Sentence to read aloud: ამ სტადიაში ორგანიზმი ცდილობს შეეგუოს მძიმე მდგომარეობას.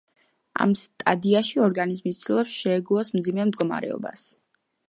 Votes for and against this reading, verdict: 2, 1, accepted